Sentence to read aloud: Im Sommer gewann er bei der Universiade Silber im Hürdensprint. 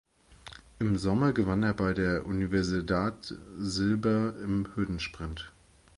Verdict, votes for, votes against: rejected, 0, 2